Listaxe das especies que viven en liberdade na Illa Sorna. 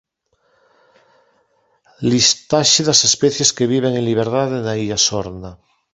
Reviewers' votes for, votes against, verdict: 1, 2, rejected